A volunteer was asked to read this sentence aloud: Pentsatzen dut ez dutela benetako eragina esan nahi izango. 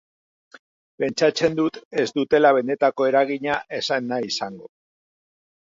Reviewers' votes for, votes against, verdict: 0, 2, rejected